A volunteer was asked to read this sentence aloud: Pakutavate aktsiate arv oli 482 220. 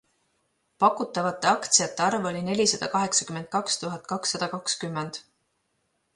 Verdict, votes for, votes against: rejected, 0, 2